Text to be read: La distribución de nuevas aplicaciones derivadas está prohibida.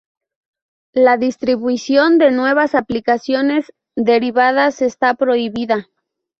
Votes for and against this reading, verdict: 0, 2, rejected